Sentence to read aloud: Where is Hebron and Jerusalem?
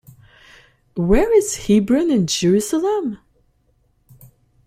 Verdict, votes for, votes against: accepted, 2, 0